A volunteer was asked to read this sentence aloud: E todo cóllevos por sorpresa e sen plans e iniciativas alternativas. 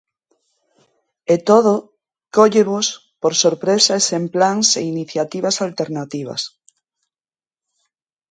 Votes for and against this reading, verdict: 3, 0, accepted